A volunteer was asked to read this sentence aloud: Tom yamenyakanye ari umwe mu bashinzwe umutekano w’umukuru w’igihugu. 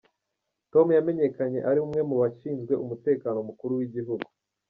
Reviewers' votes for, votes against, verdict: 1, 2, rejected